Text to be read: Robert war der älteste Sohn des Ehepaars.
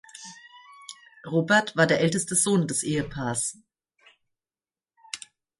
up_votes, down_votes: 2, 0